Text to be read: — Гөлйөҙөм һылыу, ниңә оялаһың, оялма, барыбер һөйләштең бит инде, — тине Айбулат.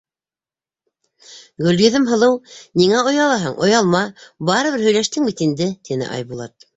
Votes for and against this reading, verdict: 3, 0, accepted